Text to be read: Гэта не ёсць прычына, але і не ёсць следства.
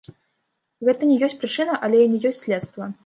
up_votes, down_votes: 2, 1